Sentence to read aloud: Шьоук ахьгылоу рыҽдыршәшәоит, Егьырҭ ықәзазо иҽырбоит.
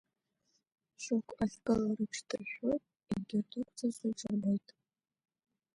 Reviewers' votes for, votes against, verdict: 0, 2, rejected